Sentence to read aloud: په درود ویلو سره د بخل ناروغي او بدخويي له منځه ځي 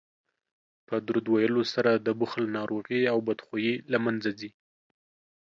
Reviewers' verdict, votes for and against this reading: accepted, 2, 0